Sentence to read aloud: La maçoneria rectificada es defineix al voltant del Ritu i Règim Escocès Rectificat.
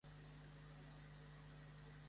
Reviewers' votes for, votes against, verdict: 0, 2, rejected